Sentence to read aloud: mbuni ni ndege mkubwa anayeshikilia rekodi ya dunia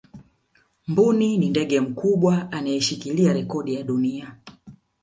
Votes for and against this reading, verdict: 2, 0, accepted